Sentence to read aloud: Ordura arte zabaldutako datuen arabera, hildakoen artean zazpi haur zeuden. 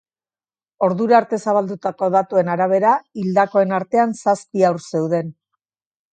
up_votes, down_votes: 2, 0